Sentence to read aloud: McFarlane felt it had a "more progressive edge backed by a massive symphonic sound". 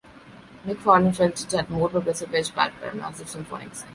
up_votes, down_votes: 0, 2